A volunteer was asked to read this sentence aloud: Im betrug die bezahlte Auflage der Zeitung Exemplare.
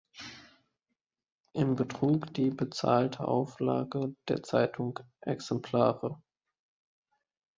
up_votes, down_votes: 2, 1